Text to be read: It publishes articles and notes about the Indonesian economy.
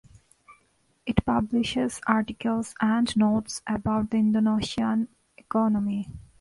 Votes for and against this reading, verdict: 0, 2, rejected